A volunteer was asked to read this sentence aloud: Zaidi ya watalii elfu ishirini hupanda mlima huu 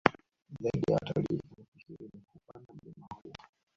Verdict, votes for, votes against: rejected, 0, 2